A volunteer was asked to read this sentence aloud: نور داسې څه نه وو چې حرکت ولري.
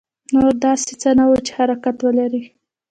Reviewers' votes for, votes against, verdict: 0, 2, rejected